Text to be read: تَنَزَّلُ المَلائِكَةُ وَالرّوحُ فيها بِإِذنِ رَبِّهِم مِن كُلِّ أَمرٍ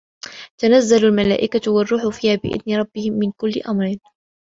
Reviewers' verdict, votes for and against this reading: accepted, 2, 0